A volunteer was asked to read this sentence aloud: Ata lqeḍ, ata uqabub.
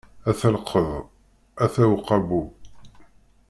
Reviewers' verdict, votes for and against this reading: rejected, 1, 2